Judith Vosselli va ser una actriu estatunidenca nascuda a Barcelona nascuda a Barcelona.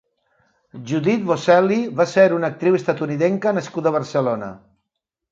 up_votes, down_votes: 0, 2